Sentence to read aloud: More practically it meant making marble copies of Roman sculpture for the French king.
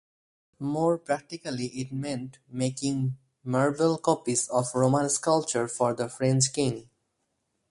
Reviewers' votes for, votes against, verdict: 4, 0, accepted